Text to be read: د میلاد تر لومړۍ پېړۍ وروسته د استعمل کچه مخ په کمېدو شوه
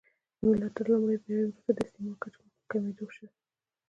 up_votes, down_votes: 0, 2